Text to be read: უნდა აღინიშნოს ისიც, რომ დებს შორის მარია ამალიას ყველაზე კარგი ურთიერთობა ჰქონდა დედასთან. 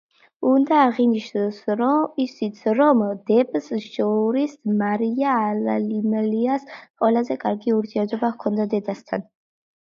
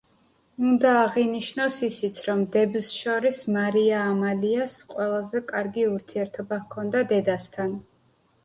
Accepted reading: second